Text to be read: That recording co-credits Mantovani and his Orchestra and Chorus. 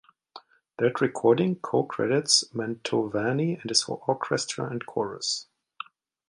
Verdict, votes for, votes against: accepted, 2, 0